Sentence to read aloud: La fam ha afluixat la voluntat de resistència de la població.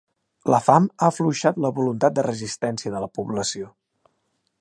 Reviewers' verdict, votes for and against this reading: accepted, 2, 0